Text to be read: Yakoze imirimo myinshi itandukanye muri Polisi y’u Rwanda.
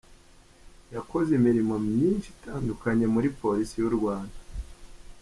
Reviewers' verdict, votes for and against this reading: accepted, 2, 1